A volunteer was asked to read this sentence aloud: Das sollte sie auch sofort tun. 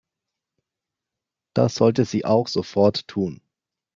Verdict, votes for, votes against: accepted, 2, 0